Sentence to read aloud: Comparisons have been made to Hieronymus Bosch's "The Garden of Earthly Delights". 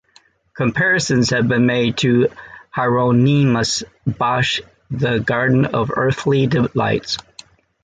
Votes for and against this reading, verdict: 2, 1, accepted